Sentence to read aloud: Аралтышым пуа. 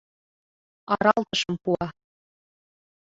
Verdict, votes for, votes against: accepted, 2, 1